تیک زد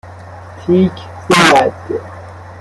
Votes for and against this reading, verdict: 2, 1, accepted